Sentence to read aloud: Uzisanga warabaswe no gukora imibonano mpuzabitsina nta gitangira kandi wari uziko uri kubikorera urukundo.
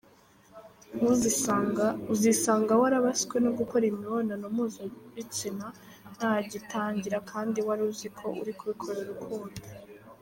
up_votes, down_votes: 0, 2